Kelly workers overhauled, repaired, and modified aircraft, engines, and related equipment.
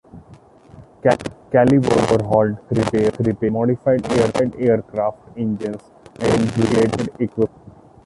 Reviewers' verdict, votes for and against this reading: rejected, 0, 2